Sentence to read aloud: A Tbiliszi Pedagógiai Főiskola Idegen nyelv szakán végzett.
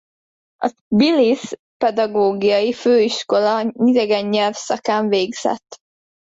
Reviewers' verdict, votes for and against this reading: rejected, 1, 2